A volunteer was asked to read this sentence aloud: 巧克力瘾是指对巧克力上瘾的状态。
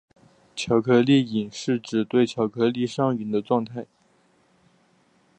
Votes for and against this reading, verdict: 2, 0, accepted